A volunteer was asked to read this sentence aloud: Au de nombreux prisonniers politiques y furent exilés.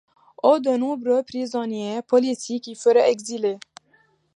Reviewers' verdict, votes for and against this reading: accepted, 2, 0